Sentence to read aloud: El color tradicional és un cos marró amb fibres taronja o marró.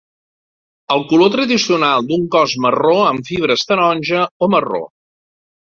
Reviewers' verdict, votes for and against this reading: rejected, 0, 2